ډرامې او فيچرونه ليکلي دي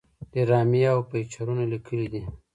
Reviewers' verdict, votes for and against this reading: accepted, 2, 1